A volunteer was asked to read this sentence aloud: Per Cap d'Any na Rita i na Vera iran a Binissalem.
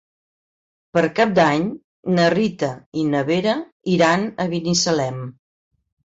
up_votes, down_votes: 4, 0